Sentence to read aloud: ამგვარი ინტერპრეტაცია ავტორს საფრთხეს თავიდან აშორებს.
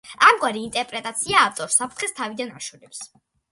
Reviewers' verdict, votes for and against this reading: accepted, 2, 0